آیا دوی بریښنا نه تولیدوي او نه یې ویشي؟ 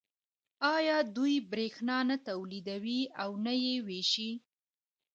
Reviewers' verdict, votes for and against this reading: accepted, 2, 1